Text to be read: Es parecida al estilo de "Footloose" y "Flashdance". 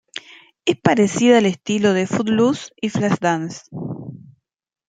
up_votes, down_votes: 2, 0